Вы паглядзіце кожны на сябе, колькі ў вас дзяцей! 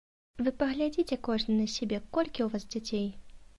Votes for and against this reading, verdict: 2, 0, accepted